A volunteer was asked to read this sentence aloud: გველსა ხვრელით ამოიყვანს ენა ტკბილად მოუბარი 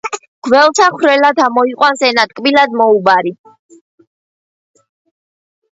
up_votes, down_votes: 0, 2